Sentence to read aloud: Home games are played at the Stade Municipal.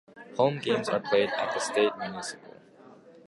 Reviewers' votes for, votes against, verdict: 2, 0, accepted